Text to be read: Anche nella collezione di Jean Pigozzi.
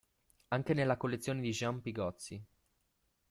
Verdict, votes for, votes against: accepted, 2, 0